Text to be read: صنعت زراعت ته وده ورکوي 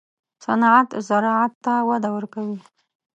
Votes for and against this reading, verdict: 1, 2, rejected